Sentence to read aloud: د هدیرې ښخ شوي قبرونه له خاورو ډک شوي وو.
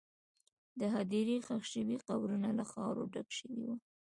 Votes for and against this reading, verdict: 2, 1, accepted